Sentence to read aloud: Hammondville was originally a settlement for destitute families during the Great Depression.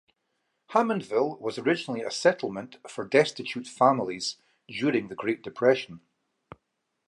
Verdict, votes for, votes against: accepted, 2, 0